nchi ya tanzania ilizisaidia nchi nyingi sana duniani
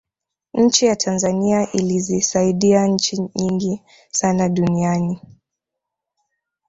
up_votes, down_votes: 8, 0